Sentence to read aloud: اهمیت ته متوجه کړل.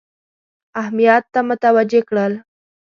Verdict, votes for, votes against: accepted, 2, 0